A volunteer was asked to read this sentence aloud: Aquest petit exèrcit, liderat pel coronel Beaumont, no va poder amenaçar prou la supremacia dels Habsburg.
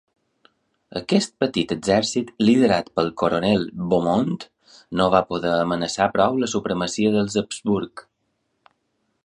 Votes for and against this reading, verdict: 2, 0, accepted